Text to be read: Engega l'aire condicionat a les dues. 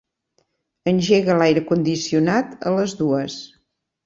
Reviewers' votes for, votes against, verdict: 3, 0, accepted